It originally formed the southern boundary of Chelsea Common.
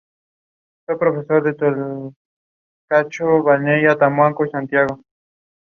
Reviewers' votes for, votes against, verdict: 0, 2, rejected